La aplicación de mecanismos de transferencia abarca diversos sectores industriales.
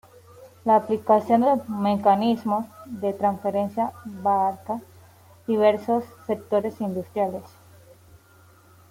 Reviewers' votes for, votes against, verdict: 2, 0, accepted